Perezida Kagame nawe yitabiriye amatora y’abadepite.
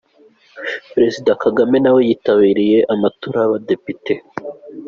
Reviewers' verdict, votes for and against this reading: accepted, 2, 0